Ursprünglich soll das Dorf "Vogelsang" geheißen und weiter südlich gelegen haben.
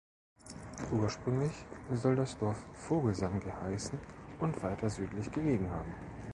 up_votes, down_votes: 2, 0